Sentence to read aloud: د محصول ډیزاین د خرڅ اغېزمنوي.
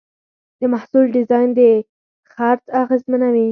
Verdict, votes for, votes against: rejected, 2, 4